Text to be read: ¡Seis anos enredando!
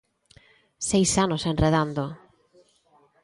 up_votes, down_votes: 2, 0